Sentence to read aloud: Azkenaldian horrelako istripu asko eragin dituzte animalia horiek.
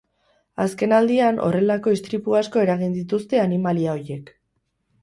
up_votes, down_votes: 0, 6